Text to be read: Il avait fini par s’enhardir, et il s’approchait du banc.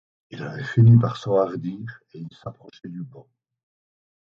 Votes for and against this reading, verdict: 2, 4, rejected